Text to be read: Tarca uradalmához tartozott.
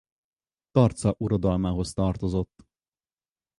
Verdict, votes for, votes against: accepted, 4, 0